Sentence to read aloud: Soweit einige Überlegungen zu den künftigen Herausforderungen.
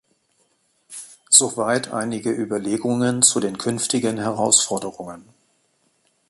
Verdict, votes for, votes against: accepted, 2, 0